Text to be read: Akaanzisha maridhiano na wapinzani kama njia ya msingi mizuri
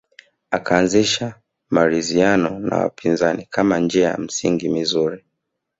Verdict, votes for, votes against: accepted, 2, 0